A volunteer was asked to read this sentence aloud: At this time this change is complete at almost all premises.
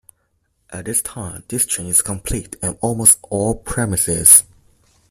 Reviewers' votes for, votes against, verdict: 1, 2, rejected